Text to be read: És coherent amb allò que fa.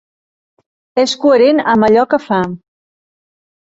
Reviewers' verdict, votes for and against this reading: accepted, 2, 0